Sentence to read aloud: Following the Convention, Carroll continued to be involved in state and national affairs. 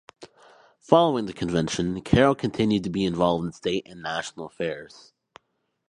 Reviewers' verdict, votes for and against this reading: accepted, 2, 0